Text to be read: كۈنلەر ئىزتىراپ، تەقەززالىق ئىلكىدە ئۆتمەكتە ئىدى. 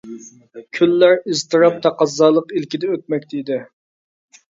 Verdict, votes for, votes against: accepted, 2, 0